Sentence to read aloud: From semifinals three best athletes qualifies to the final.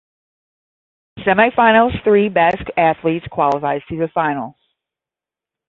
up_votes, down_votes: 5, 10